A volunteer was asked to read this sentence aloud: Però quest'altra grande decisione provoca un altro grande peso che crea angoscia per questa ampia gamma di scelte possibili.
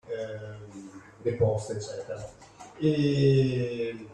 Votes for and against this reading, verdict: 0, 2, rejected